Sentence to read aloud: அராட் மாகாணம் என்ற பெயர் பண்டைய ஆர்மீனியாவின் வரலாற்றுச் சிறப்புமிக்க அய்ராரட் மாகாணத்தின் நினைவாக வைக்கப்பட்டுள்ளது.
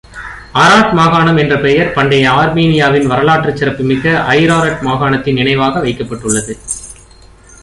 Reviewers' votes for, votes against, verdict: 1, 2, rejected